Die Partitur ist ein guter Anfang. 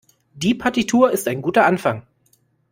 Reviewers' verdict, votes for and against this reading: accepted, 2, 0